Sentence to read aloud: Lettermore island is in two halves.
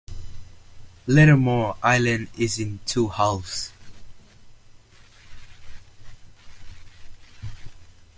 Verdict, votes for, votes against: accepted, 2, 0